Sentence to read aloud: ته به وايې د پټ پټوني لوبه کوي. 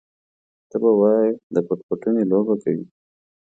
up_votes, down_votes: 2, 1